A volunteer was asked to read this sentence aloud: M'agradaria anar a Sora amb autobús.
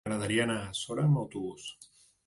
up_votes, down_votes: 3, 0